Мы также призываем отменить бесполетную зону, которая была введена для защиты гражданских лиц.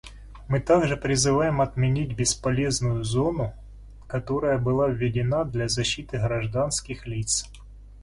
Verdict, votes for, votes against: rejected, 0, 2